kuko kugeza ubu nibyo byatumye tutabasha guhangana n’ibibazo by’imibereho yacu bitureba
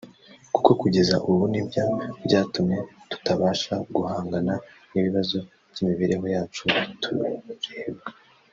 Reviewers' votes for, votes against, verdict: 1, 2, rejected